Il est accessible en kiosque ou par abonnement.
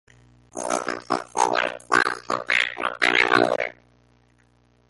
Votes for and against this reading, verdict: 0, 2, rejected